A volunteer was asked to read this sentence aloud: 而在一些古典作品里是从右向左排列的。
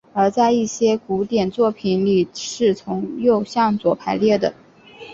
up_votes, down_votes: 2, 0